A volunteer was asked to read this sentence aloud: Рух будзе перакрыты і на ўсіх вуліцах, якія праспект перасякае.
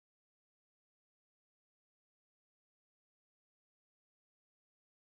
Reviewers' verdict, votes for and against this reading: rejected, 1, 2